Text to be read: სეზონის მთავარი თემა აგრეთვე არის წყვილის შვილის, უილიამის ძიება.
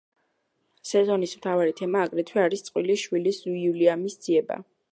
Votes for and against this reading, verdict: 3, 0, accepted